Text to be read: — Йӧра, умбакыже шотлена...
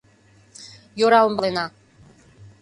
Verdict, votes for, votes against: rejected, 0, 2